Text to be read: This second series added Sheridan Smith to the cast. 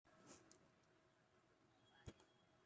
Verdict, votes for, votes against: rejected, 0, 2